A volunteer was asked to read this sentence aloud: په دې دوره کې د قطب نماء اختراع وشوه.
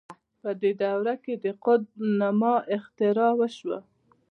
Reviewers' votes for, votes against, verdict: 2, 0, accepted